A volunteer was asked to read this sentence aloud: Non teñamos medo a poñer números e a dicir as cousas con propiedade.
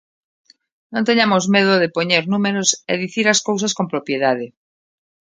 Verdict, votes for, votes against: rejected, 0, 2